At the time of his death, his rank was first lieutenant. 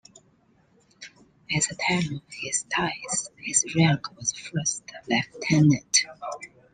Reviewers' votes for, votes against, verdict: 0, 2, rejected